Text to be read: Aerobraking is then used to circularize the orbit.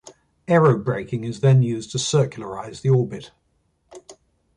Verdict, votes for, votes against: accepted, 2, 0